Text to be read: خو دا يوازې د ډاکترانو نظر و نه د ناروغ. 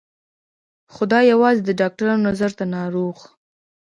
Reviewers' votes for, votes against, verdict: 1, 2, rejected